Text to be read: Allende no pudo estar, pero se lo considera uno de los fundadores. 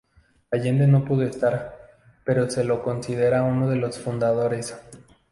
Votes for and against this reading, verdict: 2, 0, accepted